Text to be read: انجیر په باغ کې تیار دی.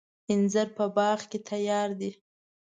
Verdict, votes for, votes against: accepted, 2, 0